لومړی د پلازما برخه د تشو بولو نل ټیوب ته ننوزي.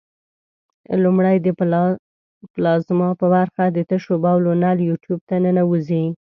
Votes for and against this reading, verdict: 1, 2, rejected